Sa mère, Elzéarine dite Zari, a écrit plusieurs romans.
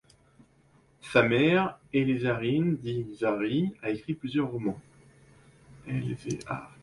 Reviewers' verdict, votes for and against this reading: rejected, 0, 2